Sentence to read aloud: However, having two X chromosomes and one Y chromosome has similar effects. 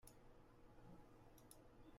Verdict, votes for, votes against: rejected, 0, 2